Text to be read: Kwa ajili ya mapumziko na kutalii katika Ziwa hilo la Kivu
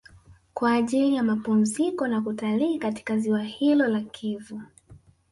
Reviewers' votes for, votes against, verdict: 1, 2, rejected